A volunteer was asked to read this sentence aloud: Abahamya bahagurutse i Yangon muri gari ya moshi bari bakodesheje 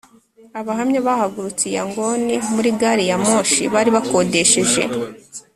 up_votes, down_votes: 2, 0